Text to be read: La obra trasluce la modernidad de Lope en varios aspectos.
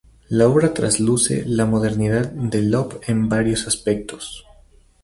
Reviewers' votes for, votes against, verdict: 2, 0, accepted